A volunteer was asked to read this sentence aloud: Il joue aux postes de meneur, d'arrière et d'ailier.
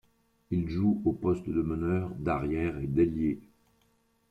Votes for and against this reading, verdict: 1, 2, rejected